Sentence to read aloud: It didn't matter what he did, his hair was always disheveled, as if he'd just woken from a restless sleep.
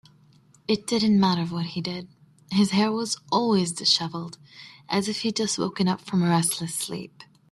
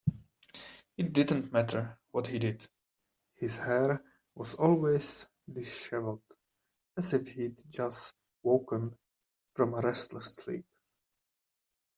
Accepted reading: second